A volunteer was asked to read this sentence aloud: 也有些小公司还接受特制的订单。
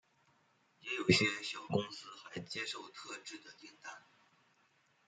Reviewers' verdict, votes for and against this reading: rejected, 1, 2